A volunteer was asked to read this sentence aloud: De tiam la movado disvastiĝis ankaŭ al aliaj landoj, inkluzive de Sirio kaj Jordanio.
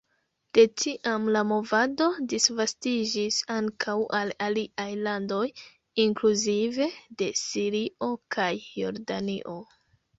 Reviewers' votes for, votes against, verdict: 0, 2, rejected